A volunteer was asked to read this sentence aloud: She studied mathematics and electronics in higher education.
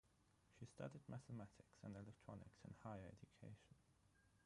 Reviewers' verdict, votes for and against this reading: rejected, 0, 3